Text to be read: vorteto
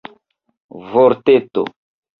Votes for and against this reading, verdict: 2, 1, accepted